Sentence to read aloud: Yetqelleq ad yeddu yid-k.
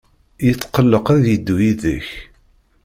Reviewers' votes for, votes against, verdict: 2, 0, accepted